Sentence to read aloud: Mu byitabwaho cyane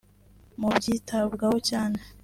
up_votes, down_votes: 2, 0